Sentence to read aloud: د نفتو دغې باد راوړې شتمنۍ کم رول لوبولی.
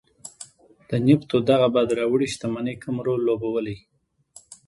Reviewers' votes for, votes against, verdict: 2, 1, accepted